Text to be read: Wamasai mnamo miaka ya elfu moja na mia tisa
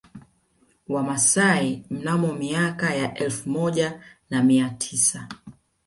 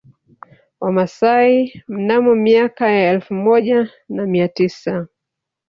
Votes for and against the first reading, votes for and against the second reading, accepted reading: 2, 0, 1, 2, first